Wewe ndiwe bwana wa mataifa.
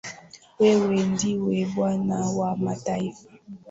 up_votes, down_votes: 2, 0